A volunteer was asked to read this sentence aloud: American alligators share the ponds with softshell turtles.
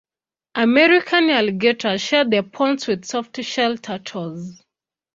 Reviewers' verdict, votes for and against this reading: accepted, 2, 0